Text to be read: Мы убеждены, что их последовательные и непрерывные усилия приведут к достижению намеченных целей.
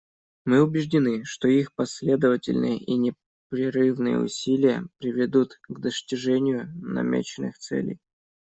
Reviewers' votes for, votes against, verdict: 1, 2, rejected